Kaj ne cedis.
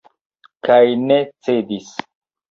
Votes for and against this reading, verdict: 2, 0, accepted